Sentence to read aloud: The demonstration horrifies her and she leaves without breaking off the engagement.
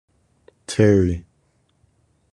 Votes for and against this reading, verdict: 0, 2, rejected